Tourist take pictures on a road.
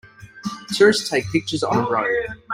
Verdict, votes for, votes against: rejected, 1, 2